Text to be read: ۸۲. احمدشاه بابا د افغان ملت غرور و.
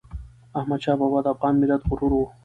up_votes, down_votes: 0, 2